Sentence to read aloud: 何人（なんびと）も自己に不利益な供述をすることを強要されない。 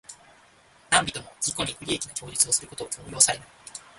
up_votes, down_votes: 1, 2